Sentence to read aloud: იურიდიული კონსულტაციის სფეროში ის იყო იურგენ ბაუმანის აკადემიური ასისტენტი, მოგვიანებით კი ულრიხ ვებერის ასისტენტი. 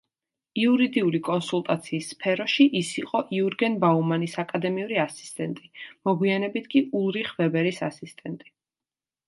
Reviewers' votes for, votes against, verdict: 2, 1, accepted